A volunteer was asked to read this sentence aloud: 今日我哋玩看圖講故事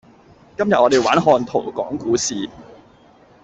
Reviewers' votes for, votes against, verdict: 1, 2, rejected